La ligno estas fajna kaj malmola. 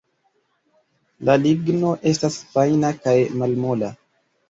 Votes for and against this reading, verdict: 2, 1, accepted